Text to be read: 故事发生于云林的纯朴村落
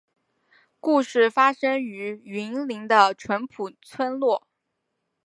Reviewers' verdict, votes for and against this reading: accepted, 2, 1